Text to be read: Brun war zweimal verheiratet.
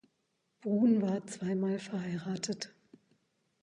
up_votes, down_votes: 2, 0